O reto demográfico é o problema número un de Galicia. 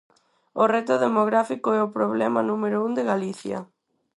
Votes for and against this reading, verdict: 4, 0, accepted